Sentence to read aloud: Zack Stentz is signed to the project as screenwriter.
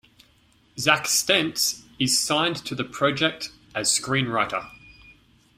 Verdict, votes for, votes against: accepted, 2, 0